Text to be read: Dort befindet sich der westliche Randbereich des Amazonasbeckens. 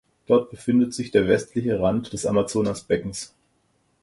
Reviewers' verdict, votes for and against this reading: rejected, 0, 4